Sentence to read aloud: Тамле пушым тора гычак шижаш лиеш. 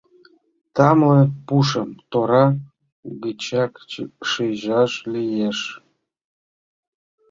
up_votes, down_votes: 0, 2